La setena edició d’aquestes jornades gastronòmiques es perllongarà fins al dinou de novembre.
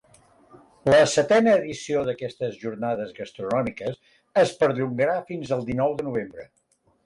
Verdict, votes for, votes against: accepted, 2, 0